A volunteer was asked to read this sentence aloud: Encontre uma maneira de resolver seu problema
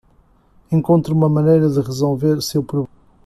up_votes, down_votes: 1, 2